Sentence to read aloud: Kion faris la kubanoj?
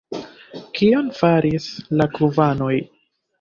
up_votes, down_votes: 2, 1